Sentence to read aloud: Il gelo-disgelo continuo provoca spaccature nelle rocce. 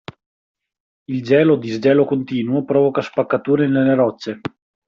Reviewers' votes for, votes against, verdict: 2, 0, accepted